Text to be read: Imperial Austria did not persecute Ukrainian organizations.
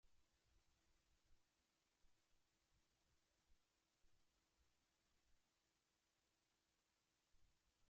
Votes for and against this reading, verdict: 0, 2, rejected